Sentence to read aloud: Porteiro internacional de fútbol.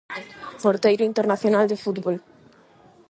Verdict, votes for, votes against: rejected, 4, 4